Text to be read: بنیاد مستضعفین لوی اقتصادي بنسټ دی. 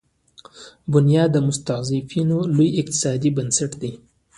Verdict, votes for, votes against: accepted, 2, 1